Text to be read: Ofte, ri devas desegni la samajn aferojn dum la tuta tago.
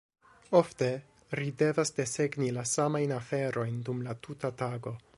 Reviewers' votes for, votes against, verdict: 2, 1, accepted